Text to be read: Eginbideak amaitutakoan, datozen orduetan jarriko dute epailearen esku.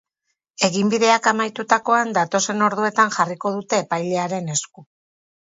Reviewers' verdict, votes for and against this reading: accepted, 4, 0